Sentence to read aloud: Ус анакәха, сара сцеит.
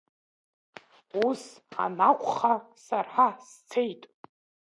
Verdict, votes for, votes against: accepted, 2, 1